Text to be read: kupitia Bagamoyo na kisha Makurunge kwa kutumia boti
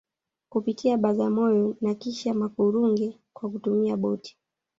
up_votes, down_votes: 1, 2